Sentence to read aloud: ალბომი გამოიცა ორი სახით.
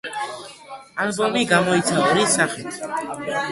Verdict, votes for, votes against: rejected, 1, 2